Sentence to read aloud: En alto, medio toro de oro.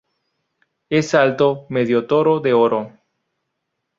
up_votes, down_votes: 0, 4